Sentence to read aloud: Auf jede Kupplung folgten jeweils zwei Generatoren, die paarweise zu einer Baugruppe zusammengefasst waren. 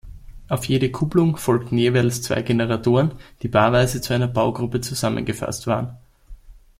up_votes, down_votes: 2, 0